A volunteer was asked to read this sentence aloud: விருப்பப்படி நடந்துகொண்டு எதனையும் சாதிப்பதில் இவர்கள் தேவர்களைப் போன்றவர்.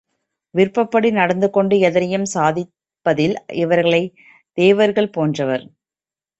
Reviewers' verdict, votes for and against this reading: rejected, 3, 4